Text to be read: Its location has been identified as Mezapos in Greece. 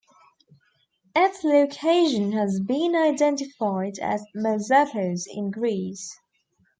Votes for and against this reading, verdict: 2, 0, accepted